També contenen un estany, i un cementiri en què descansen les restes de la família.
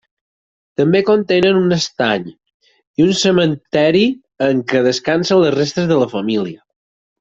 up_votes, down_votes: 2, 4